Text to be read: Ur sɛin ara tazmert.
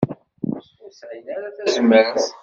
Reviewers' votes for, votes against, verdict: 1, 2, rejected